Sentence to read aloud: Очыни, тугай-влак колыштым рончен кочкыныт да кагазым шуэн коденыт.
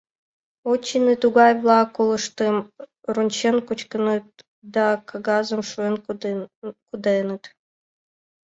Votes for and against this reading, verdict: 0, 2, rejected